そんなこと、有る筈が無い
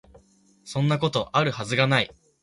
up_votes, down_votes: 2, 0